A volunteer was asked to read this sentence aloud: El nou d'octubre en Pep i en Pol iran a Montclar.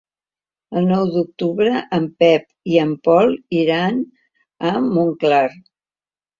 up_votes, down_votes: 2, 0